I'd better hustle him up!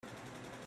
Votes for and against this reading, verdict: 0, 2, rejected